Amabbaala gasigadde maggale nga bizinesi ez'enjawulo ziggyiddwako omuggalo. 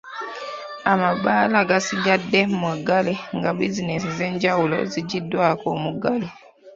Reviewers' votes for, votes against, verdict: 2, 1, accepted